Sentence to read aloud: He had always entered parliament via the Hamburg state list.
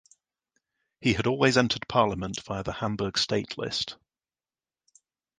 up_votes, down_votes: 2, 0